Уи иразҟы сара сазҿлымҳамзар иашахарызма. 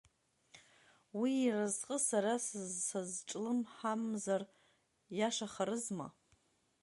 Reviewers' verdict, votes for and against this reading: rejected, 0, 2